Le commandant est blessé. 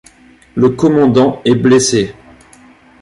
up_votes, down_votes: 2, 1